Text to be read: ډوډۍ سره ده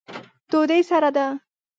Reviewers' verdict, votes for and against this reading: rejected, 1, 2